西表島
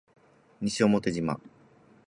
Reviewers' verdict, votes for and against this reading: rejected, 2, 2